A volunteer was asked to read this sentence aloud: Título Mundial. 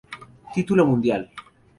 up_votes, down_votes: 0, 2